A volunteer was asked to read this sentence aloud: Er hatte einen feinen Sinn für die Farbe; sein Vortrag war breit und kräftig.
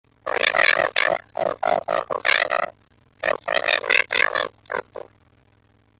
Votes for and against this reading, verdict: 0, 2, rejected